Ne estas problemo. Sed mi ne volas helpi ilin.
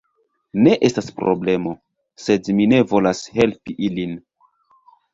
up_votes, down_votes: 2, 0